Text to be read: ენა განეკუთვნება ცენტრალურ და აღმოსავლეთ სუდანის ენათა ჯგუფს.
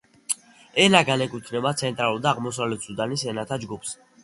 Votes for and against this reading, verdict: 2, 0, accepted